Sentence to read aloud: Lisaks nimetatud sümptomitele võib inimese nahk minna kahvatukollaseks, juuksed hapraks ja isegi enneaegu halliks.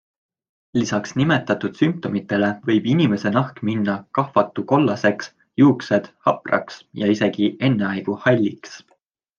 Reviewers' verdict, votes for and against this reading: accepted, 2, 0